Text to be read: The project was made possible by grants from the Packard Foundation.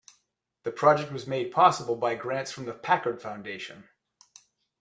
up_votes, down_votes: 2, 0